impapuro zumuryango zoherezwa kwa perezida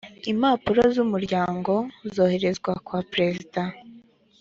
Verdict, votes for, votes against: accepted, 2, 0